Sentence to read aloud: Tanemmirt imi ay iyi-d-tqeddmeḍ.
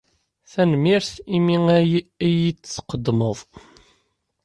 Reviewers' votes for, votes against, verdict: 1, 3, rejected